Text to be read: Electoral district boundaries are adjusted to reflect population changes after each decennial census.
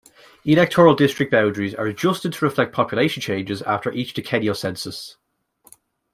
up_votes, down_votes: 2, 0